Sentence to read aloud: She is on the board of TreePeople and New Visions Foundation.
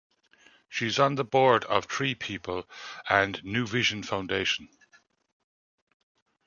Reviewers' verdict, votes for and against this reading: rejected, 0, 2